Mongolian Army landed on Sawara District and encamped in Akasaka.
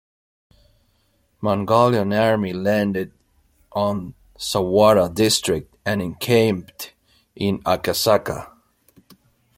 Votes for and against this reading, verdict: 2, 0, accepted